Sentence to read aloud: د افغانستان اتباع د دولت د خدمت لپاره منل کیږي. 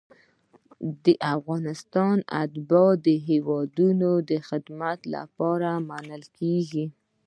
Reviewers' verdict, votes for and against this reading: accepted, 2, 0